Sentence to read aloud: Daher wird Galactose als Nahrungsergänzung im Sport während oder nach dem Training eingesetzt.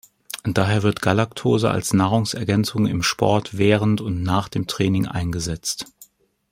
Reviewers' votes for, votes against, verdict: 0, 2, rejected